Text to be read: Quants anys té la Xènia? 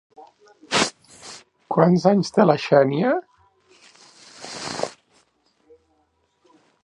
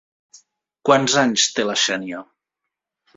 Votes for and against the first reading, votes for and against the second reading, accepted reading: 0, 2, 3, 0, second